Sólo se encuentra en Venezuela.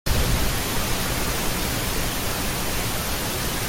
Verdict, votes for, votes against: rejected, 0, 2